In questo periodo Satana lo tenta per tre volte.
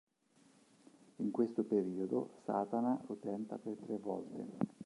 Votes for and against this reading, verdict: 0, 2, rejected